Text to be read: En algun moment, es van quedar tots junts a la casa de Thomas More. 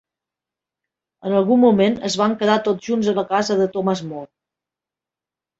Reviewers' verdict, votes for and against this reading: rejected, 1, 2